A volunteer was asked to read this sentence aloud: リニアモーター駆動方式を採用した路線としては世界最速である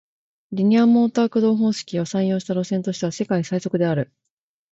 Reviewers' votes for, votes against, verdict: 2, 0, accepted